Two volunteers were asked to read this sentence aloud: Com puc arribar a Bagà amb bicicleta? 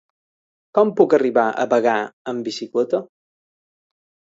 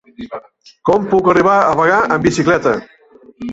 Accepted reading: first